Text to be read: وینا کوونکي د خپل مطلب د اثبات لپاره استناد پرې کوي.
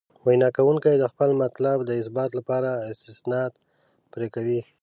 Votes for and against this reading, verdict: 2, 0, accepted